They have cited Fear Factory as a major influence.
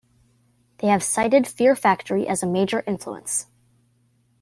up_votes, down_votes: 3, 0